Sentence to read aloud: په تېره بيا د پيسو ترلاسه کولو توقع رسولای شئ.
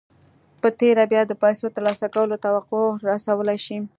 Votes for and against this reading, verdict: 2, 0, accepted